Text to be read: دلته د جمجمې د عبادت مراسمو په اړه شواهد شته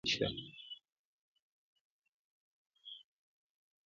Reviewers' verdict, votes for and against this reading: accepted, 2, 0